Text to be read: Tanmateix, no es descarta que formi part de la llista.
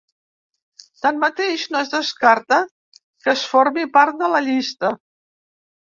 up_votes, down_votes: 2, 3